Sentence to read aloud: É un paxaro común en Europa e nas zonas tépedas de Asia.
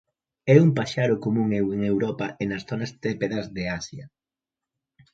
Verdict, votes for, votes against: rejected, 0, 2